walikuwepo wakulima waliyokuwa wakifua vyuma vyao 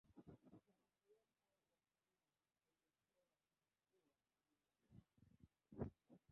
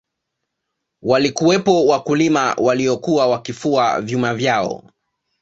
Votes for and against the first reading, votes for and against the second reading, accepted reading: 0, 2, 2, 0, second